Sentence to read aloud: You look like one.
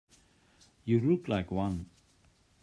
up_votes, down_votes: 2, 0